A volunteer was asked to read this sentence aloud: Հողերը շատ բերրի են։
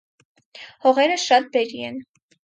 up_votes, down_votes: 4, 2